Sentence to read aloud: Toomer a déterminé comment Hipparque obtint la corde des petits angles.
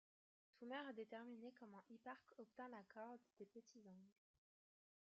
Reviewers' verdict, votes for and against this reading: rejected, 1, 2